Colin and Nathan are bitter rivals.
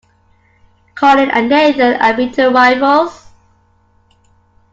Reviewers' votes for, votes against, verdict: 2, 1, accepted